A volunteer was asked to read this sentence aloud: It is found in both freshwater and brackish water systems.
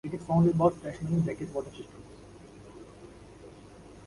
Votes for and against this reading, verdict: 0, 2, rejected